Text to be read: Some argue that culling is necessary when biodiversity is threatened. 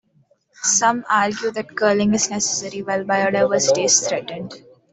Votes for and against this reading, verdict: 2, 0, accepted